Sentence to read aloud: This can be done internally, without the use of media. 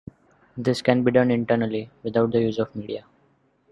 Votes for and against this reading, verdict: 2, 0, accepted